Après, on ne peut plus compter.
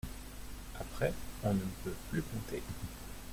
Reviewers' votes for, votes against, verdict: 2, 1, accepted